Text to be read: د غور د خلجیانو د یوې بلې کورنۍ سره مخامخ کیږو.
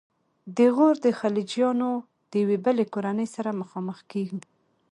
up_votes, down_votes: 3, 2